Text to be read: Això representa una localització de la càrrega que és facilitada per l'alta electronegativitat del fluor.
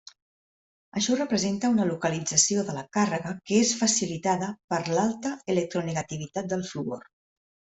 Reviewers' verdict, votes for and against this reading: accepted, 2, 0